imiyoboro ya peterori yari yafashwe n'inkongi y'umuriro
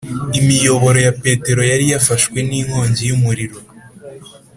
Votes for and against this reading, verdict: 3, 1, accepted